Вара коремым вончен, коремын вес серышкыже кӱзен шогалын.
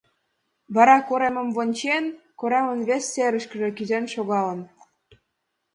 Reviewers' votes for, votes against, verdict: 2, 1, accepted